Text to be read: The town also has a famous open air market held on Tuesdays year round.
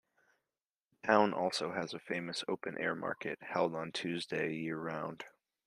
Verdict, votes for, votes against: rejected, 1, 2